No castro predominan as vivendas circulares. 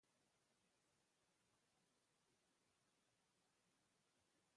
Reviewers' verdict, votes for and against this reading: rejected, 0, 2